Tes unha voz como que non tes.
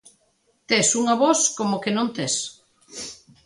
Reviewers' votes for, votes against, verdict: 2, 0, accepted